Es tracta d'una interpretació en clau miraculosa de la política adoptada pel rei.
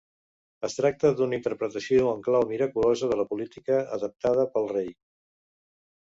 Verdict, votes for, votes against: rejected, 1, 2